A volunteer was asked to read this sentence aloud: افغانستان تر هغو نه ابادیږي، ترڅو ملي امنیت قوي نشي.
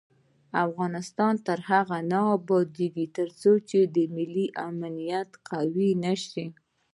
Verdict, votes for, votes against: accepted, 2, 0